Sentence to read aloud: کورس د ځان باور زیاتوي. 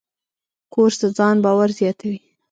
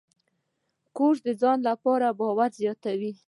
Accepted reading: second